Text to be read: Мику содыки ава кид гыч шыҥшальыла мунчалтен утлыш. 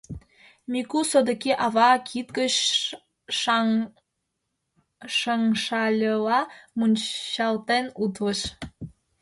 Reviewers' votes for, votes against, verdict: 1, 2, rejected